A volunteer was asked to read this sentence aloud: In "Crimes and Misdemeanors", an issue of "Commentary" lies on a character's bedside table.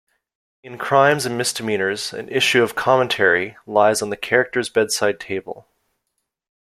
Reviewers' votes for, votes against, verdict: 1, 2, rejected